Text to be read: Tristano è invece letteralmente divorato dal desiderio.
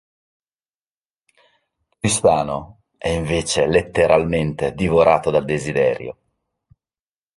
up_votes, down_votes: 3, 0